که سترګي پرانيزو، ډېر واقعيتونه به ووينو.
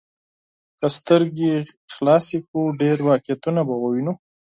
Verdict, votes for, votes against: rejected, 2, 4